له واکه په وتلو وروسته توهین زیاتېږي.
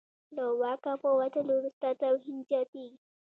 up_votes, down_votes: 1, 2